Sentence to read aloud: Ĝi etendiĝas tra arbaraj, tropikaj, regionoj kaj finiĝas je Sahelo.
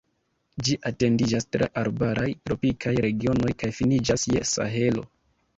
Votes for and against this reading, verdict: 0, 2, rejected